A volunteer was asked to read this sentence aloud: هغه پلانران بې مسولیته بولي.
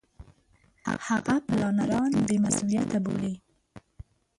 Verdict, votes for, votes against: rejected, 0, 2